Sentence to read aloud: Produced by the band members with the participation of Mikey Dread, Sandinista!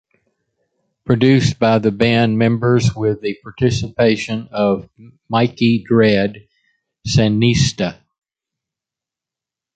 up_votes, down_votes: 2, 0